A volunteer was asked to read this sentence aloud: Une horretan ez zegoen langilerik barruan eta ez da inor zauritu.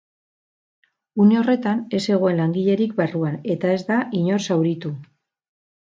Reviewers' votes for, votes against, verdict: 6, 0, accepted